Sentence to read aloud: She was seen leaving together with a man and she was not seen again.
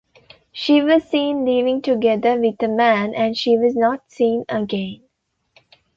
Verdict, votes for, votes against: accepted, 2, 0